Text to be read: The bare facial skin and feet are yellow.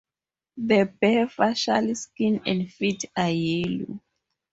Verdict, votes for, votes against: rejected, 0, 2